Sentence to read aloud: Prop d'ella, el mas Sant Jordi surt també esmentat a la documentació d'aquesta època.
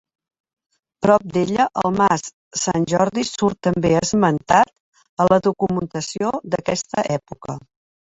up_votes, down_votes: 3, 1